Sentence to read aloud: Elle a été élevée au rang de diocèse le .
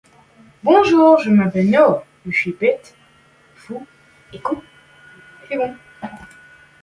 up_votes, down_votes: 0, 2